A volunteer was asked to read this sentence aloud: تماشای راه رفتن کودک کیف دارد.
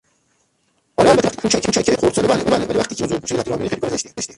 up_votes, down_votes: 0, 2